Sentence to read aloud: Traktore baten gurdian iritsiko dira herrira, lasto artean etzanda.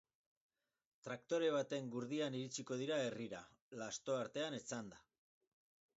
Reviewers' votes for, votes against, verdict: 4, 0, accepted